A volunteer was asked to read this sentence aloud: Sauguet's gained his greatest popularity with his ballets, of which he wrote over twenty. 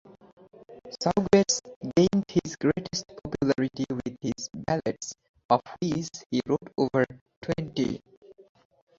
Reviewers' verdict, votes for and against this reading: rejected, 2, 2